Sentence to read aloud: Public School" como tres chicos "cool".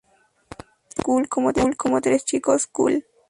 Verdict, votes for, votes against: rejected, 0, 2